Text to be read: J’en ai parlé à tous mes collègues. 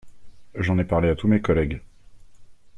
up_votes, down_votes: 2, 0